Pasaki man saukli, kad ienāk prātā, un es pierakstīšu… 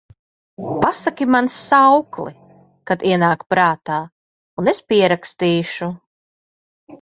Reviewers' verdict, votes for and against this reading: accepted, 2, 0